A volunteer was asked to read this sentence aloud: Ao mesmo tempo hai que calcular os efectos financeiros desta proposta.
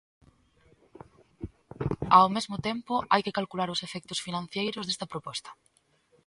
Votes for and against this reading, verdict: 1, 2, rejected